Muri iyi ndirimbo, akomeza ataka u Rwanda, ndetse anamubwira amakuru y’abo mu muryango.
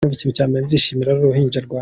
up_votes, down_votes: 0, 2